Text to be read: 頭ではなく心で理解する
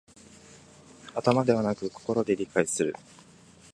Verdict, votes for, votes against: accepted, 2, 0